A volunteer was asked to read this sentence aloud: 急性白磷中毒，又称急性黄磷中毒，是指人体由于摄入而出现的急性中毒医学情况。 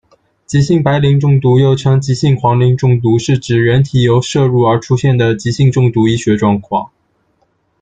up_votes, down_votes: 0, 2